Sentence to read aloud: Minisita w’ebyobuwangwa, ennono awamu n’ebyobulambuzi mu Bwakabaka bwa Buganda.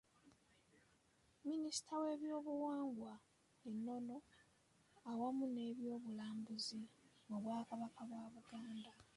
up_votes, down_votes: 4, 2